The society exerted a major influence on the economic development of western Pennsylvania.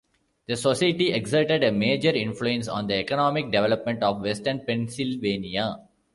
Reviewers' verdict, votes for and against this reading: rejected, 0, 3